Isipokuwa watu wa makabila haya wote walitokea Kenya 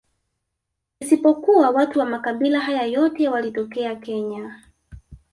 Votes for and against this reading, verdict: 2, 3, rejected